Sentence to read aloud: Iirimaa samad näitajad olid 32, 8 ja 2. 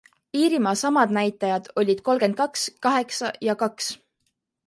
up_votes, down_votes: 0, 2